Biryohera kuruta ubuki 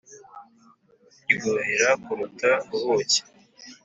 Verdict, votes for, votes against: accepted, 3, 0